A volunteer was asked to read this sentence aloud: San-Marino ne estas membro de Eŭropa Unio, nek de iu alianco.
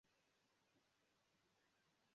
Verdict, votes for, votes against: rejected, 1, 2